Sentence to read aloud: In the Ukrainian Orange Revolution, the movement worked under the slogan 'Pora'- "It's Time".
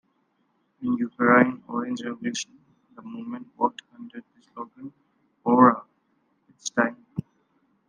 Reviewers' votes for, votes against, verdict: 1, 2, rejected